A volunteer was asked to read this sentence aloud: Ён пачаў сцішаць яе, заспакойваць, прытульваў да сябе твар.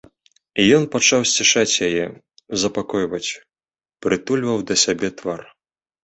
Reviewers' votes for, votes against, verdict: 0, 2, rejected